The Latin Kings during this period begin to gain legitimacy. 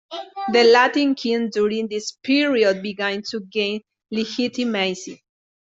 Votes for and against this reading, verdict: 0, 2, rejected